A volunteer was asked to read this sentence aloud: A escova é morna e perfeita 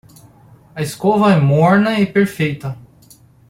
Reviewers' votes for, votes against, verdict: 2, 0, accepted